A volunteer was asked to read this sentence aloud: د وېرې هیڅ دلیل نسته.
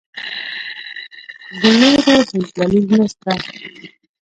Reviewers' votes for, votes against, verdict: 0, 2, rejected